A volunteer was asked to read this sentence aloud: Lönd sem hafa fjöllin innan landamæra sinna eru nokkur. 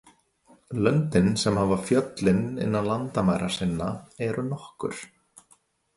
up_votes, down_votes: 0, 2